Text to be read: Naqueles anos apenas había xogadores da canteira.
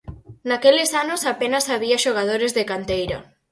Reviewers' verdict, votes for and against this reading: rejected, 2, 4